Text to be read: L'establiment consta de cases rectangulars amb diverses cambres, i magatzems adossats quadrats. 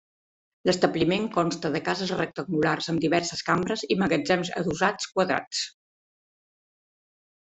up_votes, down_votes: 3, 0